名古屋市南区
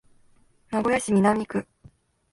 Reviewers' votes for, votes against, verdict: 2, 0, accepted